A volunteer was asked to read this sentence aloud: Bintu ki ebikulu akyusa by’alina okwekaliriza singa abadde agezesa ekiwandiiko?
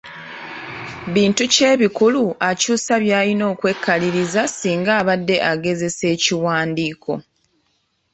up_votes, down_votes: 2, 0